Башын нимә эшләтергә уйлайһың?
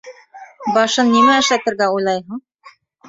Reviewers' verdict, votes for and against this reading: rejected, 0, 2